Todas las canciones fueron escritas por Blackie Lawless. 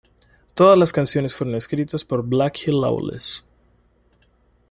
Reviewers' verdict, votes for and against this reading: accepted, 2, 1